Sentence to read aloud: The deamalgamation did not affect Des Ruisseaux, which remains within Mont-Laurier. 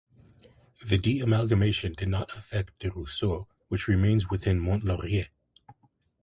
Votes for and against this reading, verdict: 2, 1, accepted